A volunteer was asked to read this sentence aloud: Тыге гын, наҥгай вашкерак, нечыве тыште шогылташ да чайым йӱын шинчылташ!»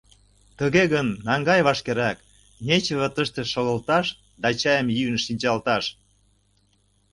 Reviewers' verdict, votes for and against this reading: rejected, 0, 2